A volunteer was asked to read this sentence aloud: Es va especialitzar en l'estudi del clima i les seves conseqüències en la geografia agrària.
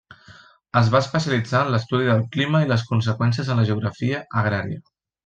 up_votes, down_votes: 0, 2